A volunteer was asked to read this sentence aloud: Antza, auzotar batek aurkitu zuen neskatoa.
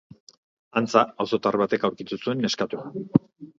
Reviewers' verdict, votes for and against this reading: accepted, 2, 0